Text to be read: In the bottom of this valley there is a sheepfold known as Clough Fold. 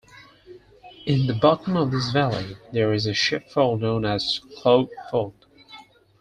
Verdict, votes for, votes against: rejected, 2, 4